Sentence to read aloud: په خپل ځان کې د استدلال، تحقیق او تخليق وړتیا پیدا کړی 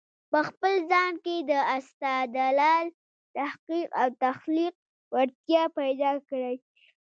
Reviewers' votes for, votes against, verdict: 2, 1, accepted